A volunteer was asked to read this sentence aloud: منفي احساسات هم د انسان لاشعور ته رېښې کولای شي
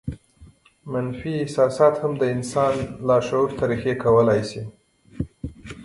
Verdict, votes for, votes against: accepted, 2, 0